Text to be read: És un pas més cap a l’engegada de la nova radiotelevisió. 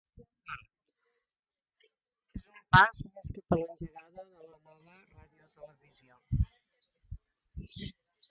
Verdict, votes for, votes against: rejected, 0, 2